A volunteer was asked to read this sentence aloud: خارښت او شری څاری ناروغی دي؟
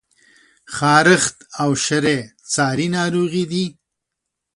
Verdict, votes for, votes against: accepted, 2, 0